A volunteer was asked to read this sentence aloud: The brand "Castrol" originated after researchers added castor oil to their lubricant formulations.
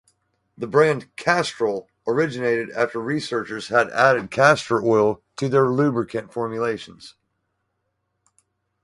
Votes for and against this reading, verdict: 0, 2, rejected